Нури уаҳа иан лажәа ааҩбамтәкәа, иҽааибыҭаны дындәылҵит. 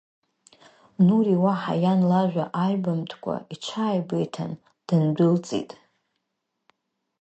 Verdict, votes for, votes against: rejected, 2, 4